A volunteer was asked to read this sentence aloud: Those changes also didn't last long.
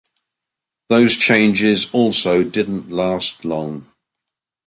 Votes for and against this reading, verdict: 2, 0, accepted